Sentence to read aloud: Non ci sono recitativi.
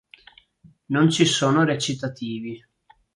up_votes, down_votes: 2, 0